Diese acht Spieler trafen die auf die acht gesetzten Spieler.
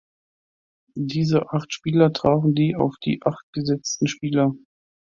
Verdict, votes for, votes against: accepted, 2, 0